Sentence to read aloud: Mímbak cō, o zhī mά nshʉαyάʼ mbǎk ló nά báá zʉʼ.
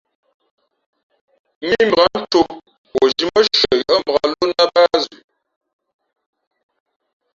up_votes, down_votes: 0, 2